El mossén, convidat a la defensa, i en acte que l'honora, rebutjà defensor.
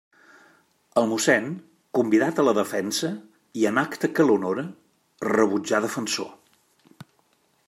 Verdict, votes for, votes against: accepted, 2, 0